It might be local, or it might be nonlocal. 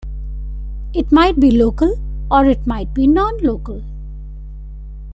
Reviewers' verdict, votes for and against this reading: accepted, 2, 0